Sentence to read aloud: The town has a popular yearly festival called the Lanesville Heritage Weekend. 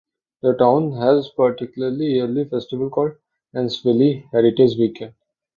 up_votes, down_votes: 1, 2